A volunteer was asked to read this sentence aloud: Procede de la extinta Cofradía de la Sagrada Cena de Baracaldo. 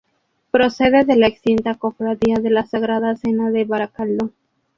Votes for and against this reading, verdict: 0, 2, rejected